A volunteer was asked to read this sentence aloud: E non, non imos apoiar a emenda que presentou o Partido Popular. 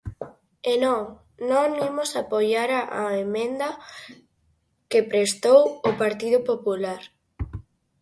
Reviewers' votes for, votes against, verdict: 0, 4, rejected